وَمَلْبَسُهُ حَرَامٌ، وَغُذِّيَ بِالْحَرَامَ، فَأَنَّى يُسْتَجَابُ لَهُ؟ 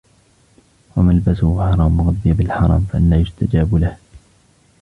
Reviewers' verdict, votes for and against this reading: rejected, 0, 2